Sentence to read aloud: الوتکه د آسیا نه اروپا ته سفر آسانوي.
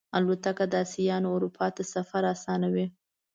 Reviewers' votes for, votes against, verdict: 2, 0, accepted